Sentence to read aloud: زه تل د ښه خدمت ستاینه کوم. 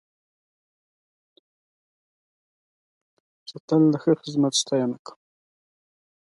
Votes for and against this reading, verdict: 1, 2, rejected